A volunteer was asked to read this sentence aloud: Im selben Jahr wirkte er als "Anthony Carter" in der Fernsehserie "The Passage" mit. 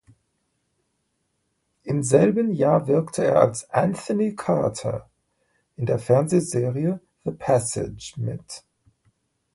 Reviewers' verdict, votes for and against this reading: accepted, 2, 1